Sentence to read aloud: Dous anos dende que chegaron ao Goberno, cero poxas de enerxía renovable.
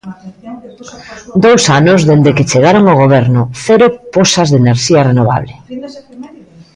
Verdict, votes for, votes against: rejected, 0, 2